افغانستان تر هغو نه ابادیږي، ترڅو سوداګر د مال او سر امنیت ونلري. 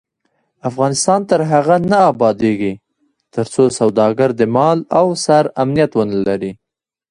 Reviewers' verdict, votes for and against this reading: rejected, 0, 2